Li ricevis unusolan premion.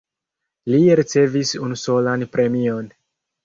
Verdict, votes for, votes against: rejected, 1, 2